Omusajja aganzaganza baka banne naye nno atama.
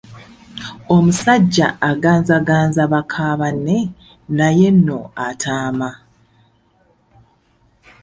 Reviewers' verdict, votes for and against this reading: rejected, 0, 2